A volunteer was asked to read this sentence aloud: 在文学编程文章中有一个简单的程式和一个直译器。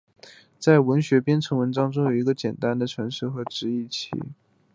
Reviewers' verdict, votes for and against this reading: accepted, 2, 0